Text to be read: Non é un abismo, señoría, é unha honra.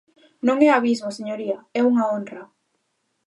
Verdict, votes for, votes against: rejected, 0, 2